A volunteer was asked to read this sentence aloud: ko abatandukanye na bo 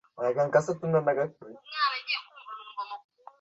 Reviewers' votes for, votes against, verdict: 0, 2, rejected